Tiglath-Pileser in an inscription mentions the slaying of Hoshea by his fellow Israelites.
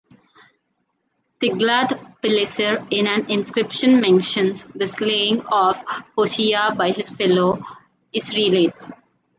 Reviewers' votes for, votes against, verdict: 2, 1, accepted